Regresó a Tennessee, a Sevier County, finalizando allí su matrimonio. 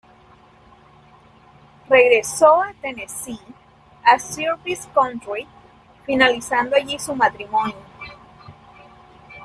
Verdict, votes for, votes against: accepted, 2, 1